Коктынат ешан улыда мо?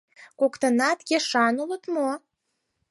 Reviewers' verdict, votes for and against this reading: rejected, 2, 4